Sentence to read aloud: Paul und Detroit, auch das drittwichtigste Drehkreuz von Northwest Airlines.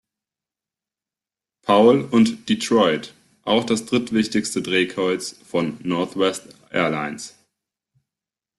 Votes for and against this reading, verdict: 0, 2, rejected